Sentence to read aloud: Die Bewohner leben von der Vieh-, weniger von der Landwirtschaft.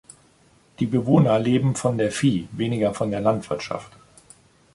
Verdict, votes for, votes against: accepted, 2, 0